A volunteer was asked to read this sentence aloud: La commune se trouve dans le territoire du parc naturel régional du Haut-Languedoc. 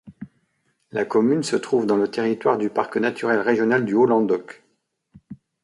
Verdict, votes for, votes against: accepted, 2, 0